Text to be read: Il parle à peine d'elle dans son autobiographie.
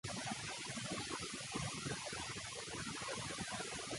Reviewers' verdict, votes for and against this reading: rejected, 0, 2